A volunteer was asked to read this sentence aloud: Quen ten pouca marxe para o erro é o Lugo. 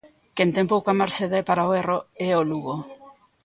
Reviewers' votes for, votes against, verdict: 0, 2, rejected